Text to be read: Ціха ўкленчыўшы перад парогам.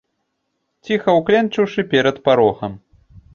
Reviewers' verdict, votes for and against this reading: accepted, 3, 0